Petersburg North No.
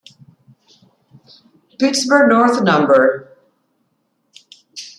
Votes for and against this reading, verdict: 1, 2, rejected